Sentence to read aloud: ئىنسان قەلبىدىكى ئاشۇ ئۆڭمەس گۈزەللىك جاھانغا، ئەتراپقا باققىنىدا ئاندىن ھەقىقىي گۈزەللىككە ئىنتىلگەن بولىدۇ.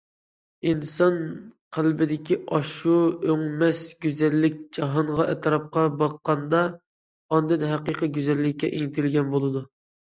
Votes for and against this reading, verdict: 0, 2, rejected